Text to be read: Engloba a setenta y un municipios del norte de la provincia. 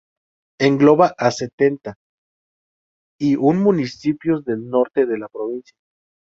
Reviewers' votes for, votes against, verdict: 0, 2, rejected